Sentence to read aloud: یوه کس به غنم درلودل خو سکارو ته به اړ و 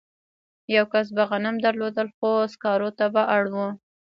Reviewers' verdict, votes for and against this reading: rejected, 1, 2